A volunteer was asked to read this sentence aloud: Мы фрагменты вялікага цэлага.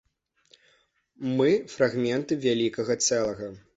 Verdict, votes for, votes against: accepted, 2, 0